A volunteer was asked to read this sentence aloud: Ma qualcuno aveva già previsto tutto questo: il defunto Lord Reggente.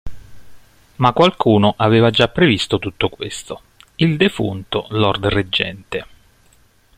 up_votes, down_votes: 2, 0